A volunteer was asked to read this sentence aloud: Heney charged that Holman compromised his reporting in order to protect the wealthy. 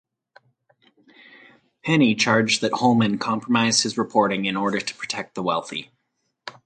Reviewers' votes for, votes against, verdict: 4, 0, accepted